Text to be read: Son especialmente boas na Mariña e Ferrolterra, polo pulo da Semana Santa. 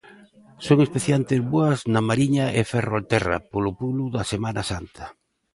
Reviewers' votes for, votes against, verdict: 0, 2, rejected